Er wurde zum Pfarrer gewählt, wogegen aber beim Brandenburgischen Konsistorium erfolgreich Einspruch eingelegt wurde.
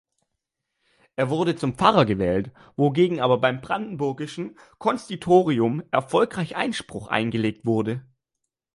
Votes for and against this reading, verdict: 2, 1, accepted